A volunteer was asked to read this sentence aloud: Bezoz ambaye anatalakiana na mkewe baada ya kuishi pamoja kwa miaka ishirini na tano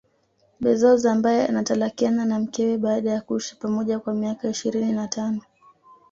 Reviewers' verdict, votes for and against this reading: accepted, 2, 0